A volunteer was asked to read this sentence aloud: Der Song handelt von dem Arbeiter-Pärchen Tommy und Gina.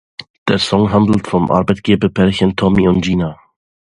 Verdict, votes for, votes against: rejected, 0, 2